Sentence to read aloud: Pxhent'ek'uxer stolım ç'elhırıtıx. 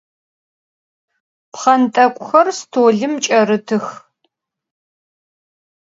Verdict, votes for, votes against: rejected, 2, 4